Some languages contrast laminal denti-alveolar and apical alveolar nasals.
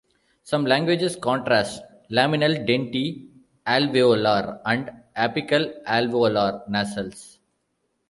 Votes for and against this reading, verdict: 0, 2, rejected